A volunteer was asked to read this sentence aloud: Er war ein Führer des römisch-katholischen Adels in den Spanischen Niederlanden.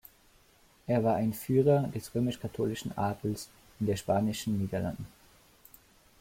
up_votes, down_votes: 1, 2